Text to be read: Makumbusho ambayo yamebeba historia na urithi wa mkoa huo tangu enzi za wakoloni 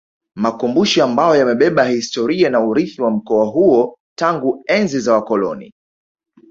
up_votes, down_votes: 1, 2